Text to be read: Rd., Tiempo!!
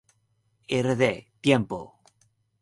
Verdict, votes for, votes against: rejected, 2, 2